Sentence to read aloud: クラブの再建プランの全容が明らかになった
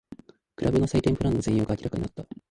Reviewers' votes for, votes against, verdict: 2, 3, rejected